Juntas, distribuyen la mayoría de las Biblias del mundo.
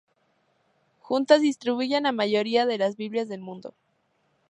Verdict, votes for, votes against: accepted, 4, 0